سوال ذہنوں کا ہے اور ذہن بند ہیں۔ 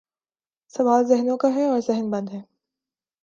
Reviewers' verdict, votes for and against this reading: accepted, 3, 0